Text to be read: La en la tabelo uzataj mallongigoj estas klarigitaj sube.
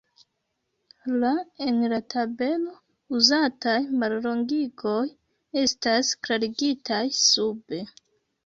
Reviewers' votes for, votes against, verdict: 2, 0, accepted